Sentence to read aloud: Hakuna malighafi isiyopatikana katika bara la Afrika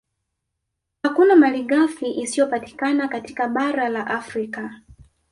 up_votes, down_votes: 1, 2